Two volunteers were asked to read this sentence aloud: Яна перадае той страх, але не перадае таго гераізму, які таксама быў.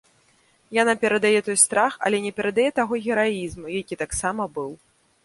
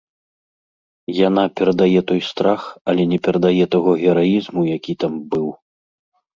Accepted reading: first